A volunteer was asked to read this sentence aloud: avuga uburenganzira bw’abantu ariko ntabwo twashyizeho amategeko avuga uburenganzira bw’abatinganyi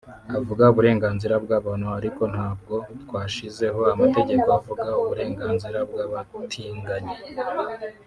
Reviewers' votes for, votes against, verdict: 1, 2, rejected